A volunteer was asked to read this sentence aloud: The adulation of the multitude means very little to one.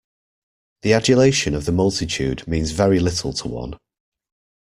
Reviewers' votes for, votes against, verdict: 2, 0, accepted